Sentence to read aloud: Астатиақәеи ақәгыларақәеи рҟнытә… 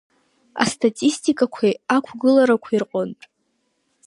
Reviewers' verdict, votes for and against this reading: rejected, 1, 2